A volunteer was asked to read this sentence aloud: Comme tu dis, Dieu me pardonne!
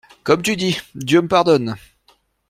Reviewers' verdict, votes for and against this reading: accepted, 2, 0